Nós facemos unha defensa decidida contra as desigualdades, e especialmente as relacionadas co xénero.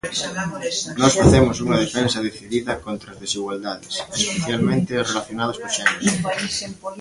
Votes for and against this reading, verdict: 1, 2, rejected